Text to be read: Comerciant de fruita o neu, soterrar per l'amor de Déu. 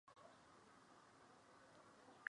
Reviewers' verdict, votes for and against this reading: rejected, 0, 2